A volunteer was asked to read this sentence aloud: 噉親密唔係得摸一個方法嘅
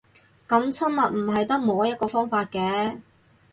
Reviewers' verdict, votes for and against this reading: accepted, 4, 0